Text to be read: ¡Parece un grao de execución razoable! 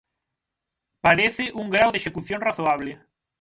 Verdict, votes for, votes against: accepted, 6, 0